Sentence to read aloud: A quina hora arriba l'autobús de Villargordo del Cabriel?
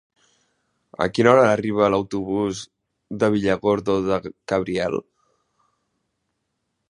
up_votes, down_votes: 1, 2